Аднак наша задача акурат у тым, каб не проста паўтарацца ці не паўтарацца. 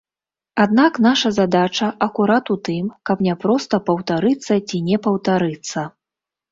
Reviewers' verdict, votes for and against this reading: rejected, 1, 2